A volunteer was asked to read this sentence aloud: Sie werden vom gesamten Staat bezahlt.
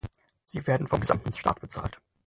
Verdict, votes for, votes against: rejected, 0, 6